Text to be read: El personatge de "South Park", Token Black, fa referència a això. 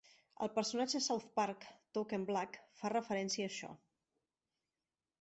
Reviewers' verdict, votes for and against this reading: rejected, 1, 2